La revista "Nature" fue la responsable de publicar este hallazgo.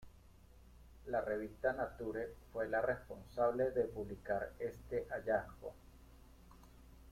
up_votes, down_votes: 1, 2